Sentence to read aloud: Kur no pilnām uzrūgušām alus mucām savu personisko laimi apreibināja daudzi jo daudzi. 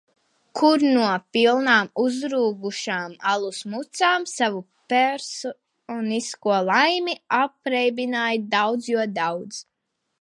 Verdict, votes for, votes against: rejected, 0, 2